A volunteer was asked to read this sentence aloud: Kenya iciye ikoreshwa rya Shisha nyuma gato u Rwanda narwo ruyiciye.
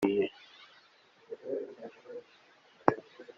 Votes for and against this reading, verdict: 0, 3, rejected